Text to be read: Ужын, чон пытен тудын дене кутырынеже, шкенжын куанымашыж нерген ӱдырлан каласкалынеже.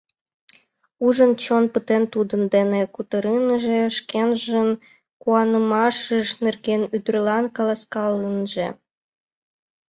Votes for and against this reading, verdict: 1, 5, rejected